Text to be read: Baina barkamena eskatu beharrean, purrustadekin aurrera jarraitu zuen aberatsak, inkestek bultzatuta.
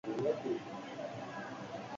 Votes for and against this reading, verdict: 0, 4, rejected